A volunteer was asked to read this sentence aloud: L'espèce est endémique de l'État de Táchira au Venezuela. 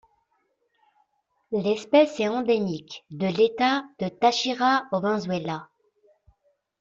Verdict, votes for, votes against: rejected, 0, 2